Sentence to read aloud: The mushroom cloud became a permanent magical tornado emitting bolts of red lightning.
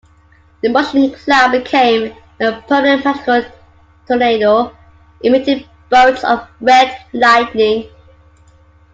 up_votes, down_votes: 3, 2